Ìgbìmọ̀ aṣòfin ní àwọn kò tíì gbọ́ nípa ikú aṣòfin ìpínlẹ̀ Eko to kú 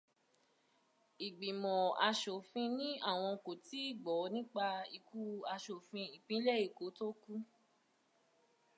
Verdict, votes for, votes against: accepted, 2, 0